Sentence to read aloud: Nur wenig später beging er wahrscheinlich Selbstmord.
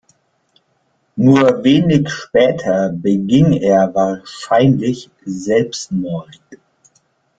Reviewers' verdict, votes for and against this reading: accepted, 2, 0